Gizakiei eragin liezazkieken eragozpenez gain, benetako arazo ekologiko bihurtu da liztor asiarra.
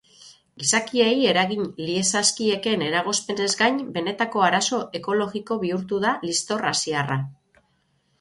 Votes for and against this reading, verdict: 12, 0, accepted